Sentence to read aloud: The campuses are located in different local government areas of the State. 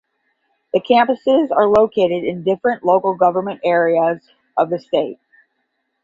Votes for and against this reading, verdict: 5, 5, rejected